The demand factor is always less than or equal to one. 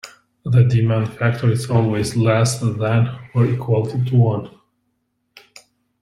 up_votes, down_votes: 1, 2